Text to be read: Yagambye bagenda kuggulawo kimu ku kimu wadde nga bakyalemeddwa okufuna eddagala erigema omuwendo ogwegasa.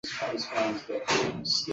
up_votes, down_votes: 0, 2